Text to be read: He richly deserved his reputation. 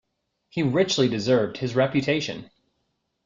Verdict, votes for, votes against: accepted, 3, 0